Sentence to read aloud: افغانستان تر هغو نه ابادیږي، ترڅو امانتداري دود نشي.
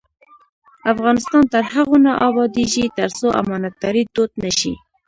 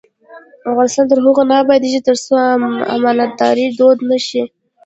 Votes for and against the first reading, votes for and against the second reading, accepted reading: 1, 2, 2, 0, second